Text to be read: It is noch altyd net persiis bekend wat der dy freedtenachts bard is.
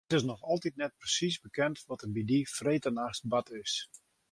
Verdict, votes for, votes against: rejected, 1, 2